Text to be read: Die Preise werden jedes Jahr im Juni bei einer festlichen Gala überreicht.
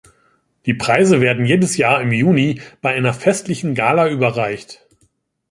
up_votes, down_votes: 2, 0